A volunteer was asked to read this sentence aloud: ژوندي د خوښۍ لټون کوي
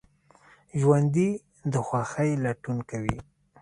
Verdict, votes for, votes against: accepted, 2, 0